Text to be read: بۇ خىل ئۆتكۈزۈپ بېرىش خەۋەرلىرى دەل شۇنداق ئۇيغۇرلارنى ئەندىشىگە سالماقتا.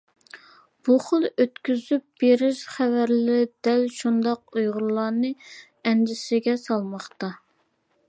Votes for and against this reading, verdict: 1, 2, rejected